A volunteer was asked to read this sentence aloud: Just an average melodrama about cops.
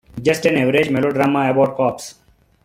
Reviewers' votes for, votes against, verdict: 2, 0, accepted